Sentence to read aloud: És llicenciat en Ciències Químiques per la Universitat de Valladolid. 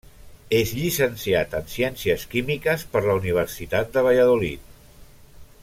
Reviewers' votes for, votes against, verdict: 3, 0, accepted